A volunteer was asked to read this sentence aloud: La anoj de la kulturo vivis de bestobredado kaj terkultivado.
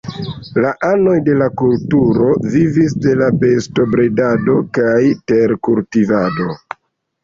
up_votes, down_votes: 2, 0